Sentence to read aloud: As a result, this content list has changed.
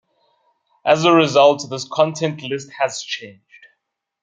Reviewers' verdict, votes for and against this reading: rejected, 0, 2